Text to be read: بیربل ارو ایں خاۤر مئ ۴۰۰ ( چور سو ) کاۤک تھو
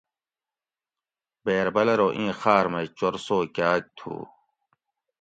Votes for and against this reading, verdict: 0, 2, rejected